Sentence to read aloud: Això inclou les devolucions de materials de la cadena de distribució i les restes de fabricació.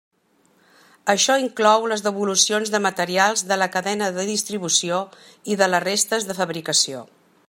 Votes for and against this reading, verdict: 0, 2, rejected